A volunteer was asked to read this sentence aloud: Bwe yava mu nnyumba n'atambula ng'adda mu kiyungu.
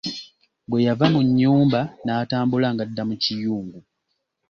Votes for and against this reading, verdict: 2, 0, accepted